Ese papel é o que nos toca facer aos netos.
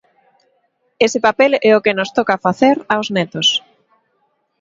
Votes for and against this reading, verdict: 2, 0, accepted